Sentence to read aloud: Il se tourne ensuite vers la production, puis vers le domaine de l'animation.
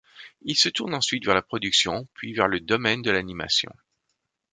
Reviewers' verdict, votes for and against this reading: accepted, 2, 0